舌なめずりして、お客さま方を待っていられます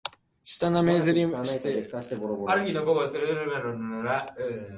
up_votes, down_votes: 0, 2